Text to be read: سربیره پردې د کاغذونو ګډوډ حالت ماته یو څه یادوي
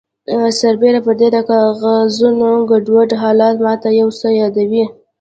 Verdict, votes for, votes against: rejected, 0, 2